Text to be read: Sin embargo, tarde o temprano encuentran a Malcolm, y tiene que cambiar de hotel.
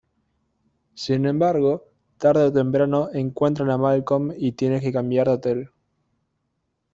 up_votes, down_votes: 1, 2